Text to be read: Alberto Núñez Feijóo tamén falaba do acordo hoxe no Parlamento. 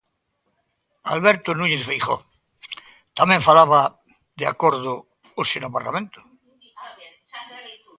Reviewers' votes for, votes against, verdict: 0, 2, rejected